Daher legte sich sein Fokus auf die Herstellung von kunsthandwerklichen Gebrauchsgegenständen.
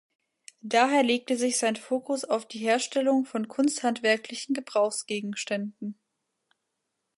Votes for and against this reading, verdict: 2, 0, accepted